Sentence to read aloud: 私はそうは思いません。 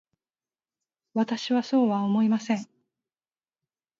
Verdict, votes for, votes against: accepted, 4, 0